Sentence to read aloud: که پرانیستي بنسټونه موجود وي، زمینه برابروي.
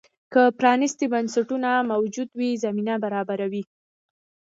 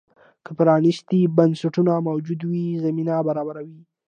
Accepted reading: second